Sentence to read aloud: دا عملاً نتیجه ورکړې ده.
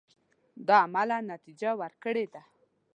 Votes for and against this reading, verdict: 2, 0, accepted